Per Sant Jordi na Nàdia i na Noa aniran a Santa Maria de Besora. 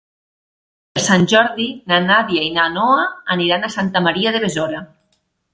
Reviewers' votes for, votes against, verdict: 1, 2, rejected